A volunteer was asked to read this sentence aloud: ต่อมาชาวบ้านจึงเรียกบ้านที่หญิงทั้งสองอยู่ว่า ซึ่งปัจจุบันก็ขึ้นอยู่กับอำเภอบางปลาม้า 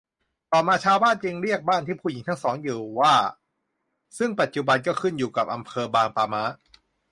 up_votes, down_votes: 0, 2